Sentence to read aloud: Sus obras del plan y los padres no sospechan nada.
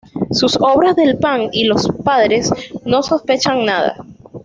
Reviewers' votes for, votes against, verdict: 1, 2, rejected